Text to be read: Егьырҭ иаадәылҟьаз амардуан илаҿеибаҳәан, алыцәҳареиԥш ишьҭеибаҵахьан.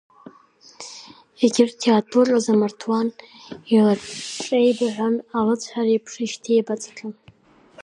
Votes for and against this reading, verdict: 1, 3, rejected